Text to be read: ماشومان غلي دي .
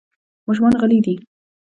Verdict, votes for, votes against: accepted, 2, 0